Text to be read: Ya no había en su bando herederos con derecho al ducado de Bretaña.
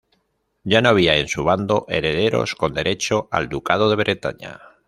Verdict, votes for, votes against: accepted, 2, 0